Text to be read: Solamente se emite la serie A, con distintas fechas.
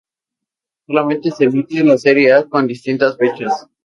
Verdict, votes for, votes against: rejected, 0, 2